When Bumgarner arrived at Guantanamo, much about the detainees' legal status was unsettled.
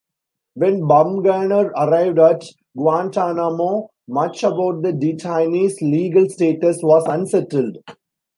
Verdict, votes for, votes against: accepted, 2, 0